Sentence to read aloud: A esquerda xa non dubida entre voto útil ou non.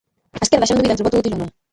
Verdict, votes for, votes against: rejected, 0, 2